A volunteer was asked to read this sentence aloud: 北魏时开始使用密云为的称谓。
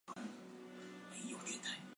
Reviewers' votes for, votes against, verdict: 1, 3, rejected